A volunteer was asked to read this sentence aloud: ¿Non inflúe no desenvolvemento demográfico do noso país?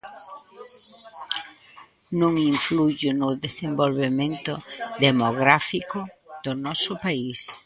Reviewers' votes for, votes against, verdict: 0, 2, rejected